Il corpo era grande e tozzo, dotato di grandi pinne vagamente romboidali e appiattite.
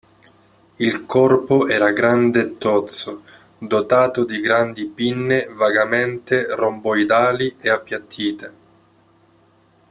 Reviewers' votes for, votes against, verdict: 2, 0, accepted